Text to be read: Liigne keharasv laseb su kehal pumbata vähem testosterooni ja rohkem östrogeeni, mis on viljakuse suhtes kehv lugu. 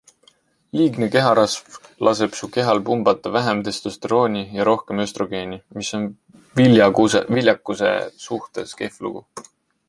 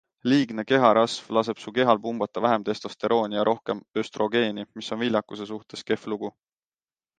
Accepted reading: second